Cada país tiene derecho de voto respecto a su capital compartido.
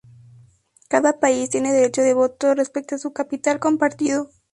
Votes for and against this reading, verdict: 2, 0, accepted